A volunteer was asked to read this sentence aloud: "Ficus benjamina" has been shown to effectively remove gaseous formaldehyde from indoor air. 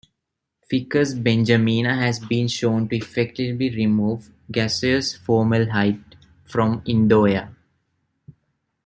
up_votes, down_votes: 0, 2